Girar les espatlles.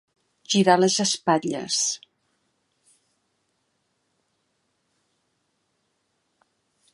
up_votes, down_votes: 2, 0